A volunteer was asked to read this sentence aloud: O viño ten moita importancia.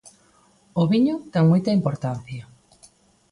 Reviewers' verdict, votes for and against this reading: accepted, 2, 0